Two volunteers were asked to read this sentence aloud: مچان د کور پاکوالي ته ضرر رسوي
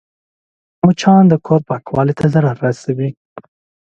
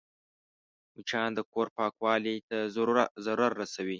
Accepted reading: first